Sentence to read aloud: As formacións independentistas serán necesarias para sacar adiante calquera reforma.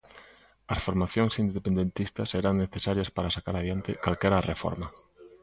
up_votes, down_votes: 2, 0